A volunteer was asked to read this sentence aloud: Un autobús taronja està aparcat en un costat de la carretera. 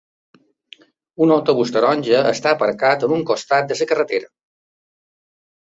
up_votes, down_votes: 2, 1